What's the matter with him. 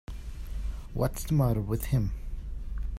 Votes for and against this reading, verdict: 5, 0, accepted